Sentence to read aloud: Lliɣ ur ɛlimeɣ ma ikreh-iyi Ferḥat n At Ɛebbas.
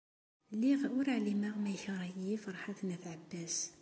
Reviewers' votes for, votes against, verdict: 2, 0, accepted